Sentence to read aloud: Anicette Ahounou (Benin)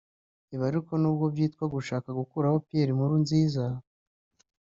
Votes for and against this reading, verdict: 1, 2, rejected